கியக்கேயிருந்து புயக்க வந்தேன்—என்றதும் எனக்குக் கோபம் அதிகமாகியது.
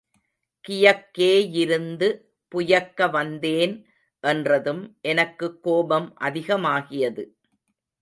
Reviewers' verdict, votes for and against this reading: rejected, 1, 2